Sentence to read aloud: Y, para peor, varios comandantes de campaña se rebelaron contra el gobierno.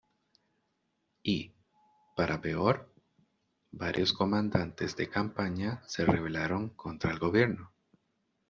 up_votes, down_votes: 2, 0